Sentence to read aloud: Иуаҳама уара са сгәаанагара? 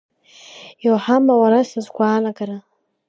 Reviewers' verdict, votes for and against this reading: accepted, 2, 0